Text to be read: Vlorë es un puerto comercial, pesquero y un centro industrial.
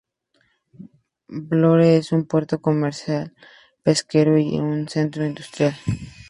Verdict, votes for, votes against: accepted, 2, 0